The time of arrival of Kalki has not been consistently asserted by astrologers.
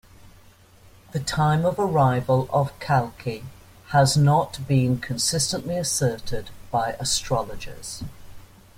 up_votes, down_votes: 2, 0